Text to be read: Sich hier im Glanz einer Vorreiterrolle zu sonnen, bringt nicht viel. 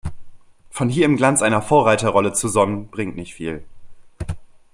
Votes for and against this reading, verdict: 0, 2, rejected